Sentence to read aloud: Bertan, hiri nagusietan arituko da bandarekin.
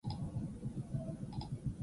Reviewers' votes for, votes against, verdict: 0, 4, rejected